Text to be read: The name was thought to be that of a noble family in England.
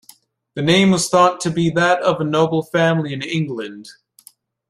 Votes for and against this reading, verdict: 2, 0, accepted